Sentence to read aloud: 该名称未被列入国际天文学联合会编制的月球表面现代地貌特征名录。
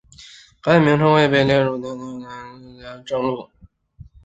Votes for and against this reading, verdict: 2, 4, rejected